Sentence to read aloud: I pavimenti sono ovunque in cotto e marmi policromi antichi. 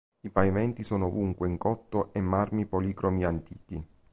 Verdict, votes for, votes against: accepted, 3, 0